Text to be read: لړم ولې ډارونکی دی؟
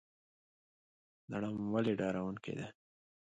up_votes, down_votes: 2, 0